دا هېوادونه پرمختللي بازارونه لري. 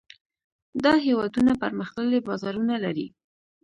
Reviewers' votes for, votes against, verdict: 2, 0, accepted